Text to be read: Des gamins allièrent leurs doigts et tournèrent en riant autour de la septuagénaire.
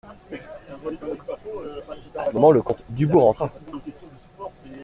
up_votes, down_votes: 0, 2